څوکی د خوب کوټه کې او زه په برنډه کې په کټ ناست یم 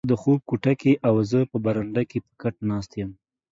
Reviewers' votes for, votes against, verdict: 0, 2, rejected